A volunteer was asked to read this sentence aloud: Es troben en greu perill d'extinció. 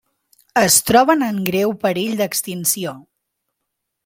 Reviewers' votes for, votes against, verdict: 3, 0, accepted